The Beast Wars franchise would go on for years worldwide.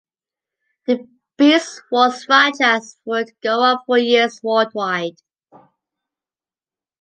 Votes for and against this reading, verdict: 1, 2, rejected